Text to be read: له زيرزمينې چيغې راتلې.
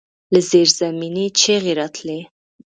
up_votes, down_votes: 2, 0